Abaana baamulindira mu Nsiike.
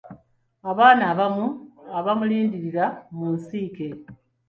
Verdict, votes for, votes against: rejected, 1, 2